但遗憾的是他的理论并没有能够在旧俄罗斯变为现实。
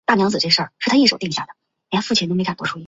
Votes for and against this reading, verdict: 1, 3, rejected